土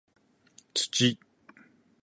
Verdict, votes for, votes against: accepted, 6, 0